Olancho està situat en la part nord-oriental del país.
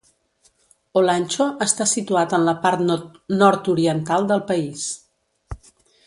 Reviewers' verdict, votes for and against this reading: rejected, 0, 2